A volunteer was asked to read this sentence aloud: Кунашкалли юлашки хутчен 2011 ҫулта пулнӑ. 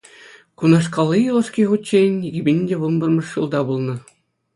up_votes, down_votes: 0, 2